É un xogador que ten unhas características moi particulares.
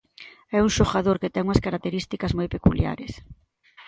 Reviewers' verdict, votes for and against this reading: rejected, 0, 2